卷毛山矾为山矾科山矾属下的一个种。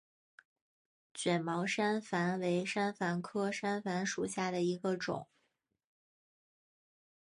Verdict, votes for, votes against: accepted, 4, 1